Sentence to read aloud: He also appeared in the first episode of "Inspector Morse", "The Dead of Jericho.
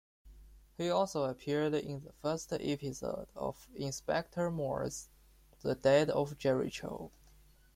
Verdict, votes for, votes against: rejected, 0, 2